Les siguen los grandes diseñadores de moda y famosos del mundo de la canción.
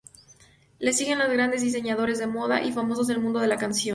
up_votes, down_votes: 2, 0